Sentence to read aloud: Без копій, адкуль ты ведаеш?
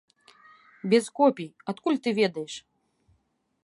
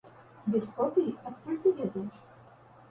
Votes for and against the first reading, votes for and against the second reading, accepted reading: 2, 0, 1, 2, first